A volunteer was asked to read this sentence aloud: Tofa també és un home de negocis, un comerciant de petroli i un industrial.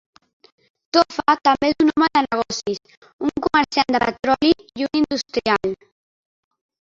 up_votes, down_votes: 0, 2